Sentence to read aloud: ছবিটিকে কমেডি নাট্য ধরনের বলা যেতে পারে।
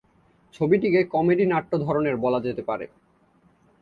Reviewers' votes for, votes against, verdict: 2, 0, accepted